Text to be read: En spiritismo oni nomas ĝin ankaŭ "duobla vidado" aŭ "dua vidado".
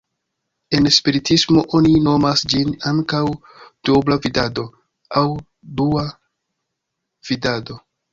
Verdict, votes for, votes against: accepted, 2, 1